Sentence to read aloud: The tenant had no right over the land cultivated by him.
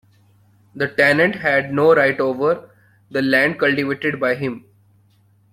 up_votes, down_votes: 2, 0